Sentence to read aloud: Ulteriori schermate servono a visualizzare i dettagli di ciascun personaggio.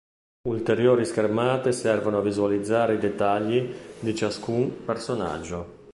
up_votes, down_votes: 2, 0